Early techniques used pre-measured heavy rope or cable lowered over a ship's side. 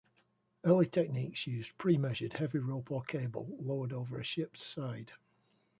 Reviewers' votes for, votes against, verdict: 2, 0, accepted